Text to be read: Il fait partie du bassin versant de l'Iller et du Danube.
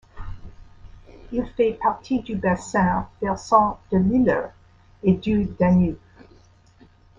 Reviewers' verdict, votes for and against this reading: rejected, 1, 2